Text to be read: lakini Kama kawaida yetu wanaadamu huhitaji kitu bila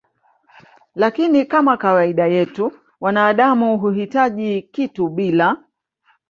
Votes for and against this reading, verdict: 3, 0, accepted